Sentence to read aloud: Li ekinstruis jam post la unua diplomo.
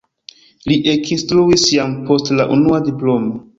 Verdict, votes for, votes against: accepted, 2, 0